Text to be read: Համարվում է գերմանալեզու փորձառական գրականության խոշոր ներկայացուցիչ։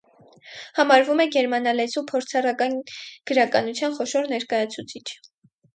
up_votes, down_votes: 2, 4